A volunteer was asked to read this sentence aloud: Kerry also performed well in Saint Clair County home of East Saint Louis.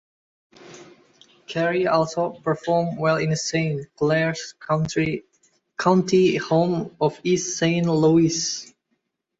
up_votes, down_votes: 0, 2